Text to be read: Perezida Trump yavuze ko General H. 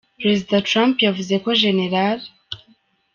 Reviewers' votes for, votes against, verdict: 2, 0, accepted